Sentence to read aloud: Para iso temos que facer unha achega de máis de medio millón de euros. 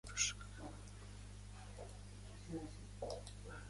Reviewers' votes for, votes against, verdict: 0, 2, rejected